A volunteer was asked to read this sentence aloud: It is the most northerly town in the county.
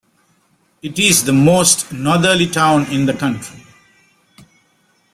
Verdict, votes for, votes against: rejected, 1, 2